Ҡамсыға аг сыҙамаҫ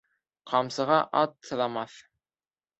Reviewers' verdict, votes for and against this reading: accepted, 2, 0